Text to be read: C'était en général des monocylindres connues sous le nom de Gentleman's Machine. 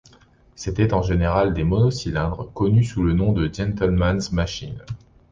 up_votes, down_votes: 2, 0